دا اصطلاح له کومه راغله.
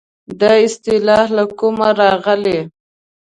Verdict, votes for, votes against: rejected, 1, 2